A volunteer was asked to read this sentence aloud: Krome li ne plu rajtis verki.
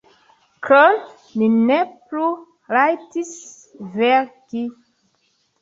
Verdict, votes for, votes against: rejected, 0, 2